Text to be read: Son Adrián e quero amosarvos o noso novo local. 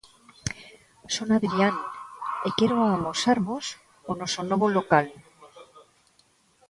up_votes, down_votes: 0, 2